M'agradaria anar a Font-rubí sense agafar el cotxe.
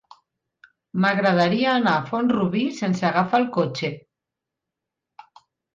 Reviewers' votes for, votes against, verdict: 2, 0, accepted